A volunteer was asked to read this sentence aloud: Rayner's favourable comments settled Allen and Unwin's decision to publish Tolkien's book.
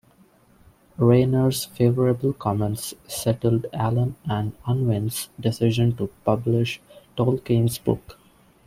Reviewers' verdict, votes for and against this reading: accepted, 2, 0